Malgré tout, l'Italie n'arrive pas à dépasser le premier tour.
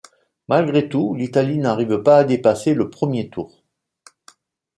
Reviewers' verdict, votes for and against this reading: accepted, 2, 0